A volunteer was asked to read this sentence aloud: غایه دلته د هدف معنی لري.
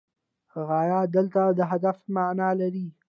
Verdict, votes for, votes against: accepted, 2, 0